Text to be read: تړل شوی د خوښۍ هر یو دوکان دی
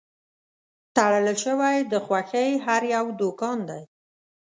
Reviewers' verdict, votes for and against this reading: accepted, 2, 1